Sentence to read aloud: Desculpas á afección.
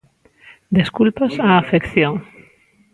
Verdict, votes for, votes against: rejected, 0, 2